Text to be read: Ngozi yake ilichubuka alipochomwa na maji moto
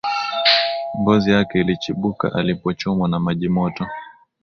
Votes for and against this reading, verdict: 4, 1, accepted